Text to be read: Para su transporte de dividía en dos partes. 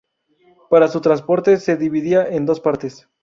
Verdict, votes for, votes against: rejected, 2, 2